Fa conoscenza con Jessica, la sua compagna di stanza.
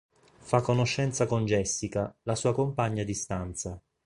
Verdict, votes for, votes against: accepted, 4, 0